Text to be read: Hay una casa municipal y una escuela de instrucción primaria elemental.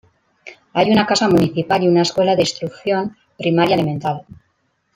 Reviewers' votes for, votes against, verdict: 2, 1, accepted